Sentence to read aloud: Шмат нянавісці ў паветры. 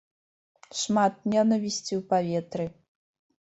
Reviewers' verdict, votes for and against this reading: rejected, 1, 2